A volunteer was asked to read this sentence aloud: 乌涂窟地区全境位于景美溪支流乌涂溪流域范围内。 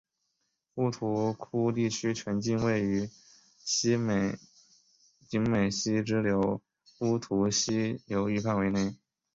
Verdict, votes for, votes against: rejected, 0, 2